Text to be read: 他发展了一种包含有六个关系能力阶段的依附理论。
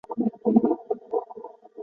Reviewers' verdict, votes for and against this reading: rejected, 0, 2